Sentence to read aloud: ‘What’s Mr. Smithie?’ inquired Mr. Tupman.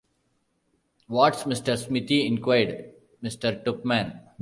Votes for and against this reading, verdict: 0, 2, rejected